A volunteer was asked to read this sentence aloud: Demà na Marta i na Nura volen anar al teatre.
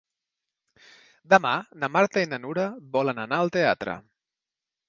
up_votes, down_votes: 2, 0